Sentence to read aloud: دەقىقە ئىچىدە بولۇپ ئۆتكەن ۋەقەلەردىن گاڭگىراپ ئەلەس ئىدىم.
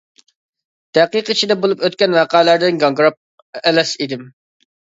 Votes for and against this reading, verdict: 1, 2, rejected